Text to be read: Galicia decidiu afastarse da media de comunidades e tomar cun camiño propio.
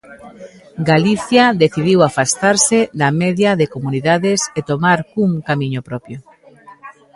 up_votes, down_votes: 1, 2